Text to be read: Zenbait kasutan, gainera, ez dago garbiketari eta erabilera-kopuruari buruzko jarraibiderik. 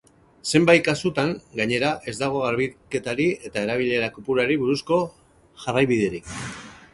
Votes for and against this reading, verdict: 2, 2, rejected